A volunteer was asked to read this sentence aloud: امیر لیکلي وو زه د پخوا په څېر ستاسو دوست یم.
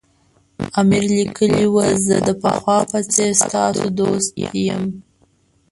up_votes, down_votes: 0, 2